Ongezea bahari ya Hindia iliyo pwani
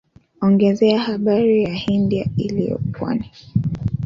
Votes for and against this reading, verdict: 1, 2, rejected